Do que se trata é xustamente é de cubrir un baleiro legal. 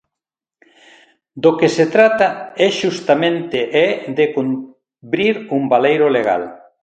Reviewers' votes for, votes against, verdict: 0, 2, rejected